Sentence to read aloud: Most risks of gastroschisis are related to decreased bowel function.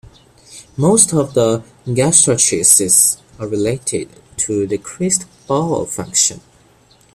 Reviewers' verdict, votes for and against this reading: rejected, 0, 2